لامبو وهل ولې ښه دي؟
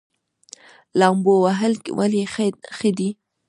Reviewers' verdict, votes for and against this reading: accepted, 2, 0